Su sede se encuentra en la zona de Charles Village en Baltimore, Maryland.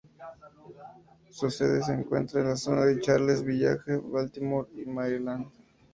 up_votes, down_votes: 2, 0